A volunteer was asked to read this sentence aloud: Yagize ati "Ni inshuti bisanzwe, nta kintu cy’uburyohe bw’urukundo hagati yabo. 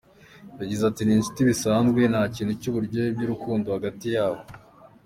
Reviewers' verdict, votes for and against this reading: accepted, 2, 1